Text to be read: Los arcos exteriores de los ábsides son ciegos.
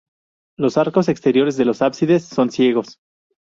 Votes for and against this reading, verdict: 4, 0, accepted